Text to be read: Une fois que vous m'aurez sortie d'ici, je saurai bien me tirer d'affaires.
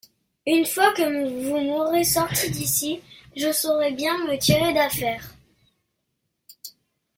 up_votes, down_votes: 2, 0